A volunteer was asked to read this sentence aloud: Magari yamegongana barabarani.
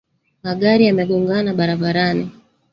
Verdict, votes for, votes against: rejected, 0, 2